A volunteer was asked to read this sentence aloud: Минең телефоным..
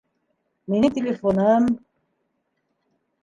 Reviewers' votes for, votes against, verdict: 1, 2, rejected